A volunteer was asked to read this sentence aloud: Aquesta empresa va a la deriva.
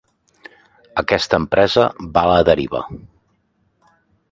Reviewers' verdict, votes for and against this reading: accepted, 2, 0